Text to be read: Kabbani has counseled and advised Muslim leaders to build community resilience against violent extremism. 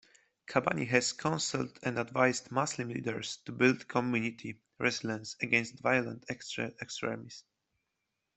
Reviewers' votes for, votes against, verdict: 1, 2, rejected